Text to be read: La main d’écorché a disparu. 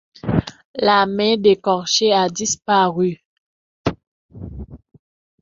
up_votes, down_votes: 1, 2